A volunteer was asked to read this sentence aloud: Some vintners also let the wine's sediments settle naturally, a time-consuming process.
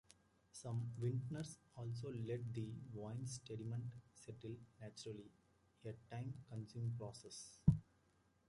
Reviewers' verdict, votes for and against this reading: rejected, 0, 2